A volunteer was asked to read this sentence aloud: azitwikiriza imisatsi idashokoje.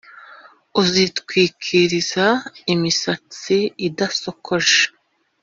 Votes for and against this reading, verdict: 0, 2, rejected